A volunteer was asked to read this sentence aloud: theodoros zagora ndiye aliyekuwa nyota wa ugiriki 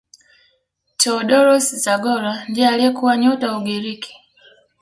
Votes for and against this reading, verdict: 1, 2, rejected